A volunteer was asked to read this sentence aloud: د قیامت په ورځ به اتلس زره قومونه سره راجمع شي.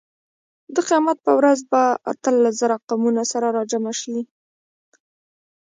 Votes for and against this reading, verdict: 2, 0, accepted